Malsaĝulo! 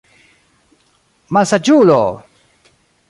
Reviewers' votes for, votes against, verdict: 1, 2, rejected